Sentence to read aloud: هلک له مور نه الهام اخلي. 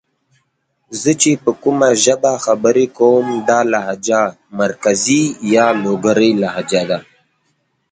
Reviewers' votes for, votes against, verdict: 1, 2, rejected